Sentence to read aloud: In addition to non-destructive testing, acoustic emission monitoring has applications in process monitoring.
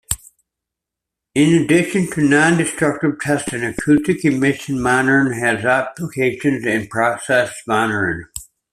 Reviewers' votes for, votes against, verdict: 2, 1, accepted